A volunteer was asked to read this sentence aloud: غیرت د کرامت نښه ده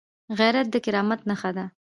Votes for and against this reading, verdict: 1, 2, rejected